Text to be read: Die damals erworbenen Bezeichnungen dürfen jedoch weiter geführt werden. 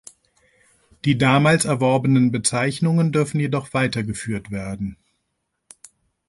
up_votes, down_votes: 2, 0